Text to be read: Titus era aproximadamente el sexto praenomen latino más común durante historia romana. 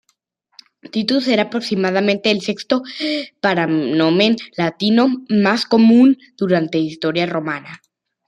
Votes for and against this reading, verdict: 0, 2, rejected